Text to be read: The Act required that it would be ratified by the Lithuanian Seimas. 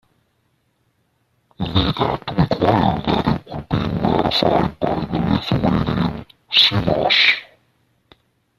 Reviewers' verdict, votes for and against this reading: rejected, 0, 2